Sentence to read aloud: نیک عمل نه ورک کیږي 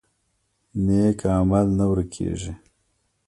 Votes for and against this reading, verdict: 0, 2, rejected